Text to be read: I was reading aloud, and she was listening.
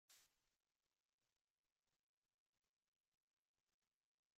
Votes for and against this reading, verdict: 0, 2, rejected